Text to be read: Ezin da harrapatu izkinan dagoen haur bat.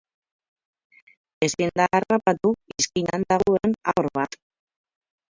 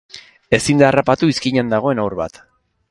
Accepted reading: second